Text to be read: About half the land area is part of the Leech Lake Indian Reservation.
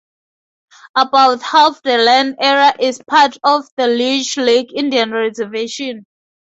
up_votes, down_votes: 2, 0